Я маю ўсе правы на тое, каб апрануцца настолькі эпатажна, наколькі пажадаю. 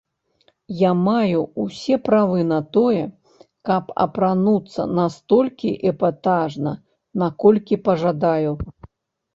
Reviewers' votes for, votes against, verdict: 3, 1, accepted